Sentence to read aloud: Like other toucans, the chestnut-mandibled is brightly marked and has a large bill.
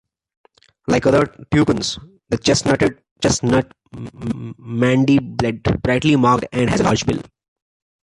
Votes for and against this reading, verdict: 0, 2, rejected